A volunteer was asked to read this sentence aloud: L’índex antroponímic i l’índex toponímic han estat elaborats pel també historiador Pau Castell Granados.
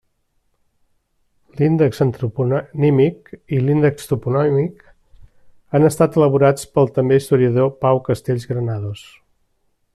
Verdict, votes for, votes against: rejected, 0, 2